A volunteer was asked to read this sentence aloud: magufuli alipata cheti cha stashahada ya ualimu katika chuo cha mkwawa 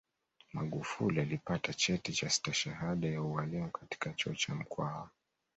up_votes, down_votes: 2, 0